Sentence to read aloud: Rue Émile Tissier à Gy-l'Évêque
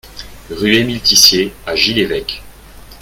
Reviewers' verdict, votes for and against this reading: accepted, 2, 0